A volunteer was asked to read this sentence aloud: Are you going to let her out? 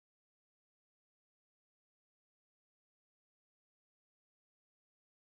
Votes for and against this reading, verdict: 0, 2, rejected